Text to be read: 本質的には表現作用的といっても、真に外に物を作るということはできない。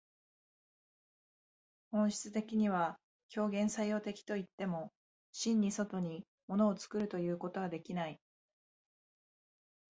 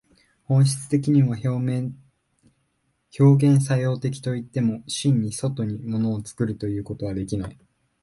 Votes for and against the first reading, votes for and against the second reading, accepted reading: 2, 0, 0, 2, first